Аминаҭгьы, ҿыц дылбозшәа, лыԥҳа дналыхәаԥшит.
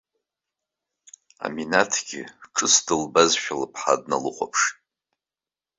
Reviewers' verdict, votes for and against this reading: accepted, 3, 0